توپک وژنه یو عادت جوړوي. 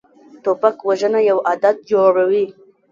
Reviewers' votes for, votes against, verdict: 1, 2, rejected